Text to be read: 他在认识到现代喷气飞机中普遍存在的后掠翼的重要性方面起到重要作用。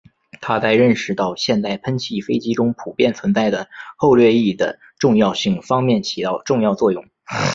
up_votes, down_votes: 1, 2